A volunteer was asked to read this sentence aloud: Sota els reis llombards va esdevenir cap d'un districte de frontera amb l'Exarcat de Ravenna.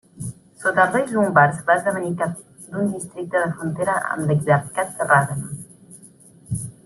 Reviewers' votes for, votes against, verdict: 1, 2, rejected